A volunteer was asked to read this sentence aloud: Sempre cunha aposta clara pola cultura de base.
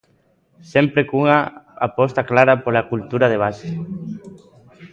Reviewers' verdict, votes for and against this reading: rejected, 0, 2